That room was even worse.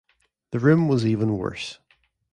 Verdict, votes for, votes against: rejected, 1, 2